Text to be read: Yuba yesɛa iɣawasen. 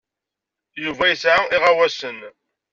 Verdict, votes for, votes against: accepted, 2, 0